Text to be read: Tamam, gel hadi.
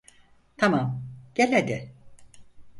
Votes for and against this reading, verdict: 4, 0, accepted